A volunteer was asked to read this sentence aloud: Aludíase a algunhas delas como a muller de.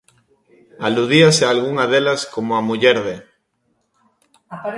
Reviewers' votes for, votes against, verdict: 0, 2, rejected